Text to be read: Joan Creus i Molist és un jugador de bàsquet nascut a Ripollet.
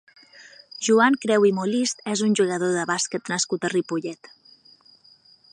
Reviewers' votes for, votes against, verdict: 0, 6, rejected